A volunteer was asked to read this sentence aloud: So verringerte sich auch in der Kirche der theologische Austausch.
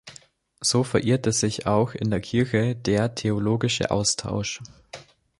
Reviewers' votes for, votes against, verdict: 0, 2, rejected